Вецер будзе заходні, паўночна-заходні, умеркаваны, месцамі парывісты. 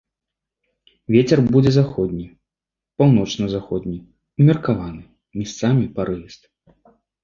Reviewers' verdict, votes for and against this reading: rejected, 0, 2